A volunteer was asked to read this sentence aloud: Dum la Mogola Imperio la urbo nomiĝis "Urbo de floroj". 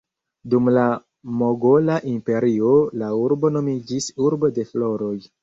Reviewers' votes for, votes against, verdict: 0, 2, rejected